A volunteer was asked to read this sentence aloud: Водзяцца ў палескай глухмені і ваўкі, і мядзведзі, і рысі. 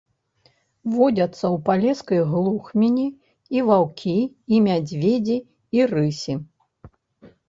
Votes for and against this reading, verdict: 1, 2, rejected